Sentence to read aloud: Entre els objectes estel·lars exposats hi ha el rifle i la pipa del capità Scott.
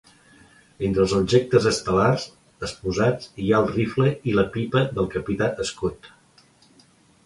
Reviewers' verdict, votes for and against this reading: accepted, 2, 1